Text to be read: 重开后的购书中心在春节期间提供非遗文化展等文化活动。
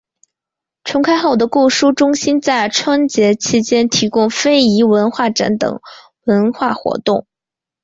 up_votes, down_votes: 2, 0